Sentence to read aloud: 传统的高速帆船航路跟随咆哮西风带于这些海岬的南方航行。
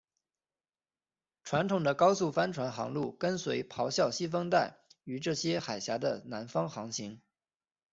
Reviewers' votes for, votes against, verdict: 2, 0, accepted